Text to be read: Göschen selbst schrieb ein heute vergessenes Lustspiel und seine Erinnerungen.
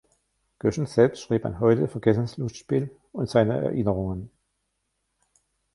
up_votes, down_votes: 1, 2